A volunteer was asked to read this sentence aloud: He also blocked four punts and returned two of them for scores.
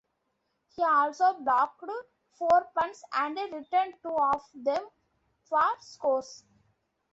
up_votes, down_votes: 1, 2